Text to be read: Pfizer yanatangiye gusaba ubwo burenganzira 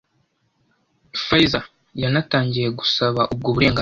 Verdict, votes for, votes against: rejected, 1, 2